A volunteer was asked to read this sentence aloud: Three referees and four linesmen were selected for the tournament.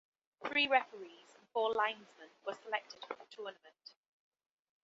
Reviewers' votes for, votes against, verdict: 2, 1, accepted